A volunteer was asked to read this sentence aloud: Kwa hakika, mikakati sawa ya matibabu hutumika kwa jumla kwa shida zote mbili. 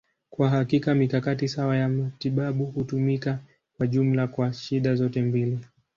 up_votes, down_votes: 2, 0